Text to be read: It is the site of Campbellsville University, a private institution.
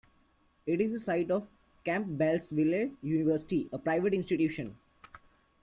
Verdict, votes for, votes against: rejected, 1, 2